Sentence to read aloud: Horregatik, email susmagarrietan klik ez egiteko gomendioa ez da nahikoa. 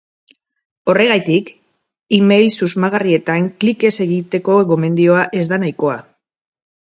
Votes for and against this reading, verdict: 2, 2, rejected